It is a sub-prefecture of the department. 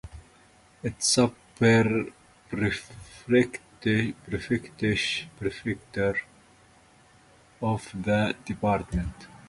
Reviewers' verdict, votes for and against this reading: rejected, 0, 2